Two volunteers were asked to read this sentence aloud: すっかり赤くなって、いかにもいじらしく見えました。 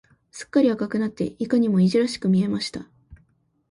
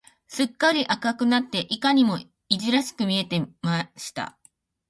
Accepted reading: first